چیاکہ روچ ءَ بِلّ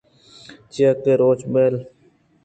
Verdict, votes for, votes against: rejected, 0, 2